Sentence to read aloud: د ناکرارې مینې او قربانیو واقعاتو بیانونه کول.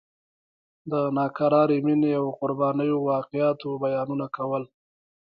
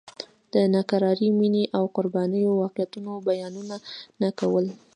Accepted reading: second